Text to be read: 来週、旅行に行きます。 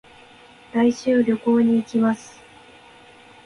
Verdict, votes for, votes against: accepted, 2, 0